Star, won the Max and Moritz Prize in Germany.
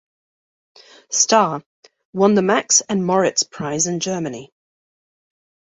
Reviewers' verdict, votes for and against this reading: accepted, 2, 0